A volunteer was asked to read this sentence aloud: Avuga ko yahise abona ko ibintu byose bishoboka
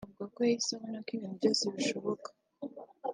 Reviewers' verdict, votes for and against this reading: accepted, 2, 0